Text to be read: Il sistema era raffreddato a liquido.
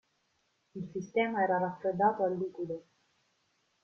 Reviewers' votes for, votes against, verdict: 1, 2, rejected